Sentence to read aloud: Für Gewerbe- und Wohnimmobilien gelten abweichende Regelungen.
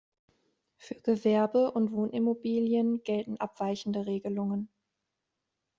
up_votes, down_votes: 2, 0